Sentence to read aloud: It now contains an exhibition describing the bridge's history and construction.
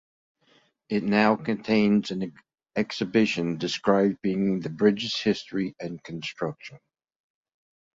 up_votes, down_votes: 2, 0